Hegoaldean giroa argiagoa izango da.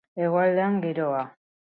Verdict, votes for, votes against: rejected, 0, 4